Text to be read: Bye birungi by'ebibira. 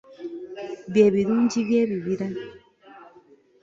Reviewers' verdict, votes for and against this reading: accepted, 2, 0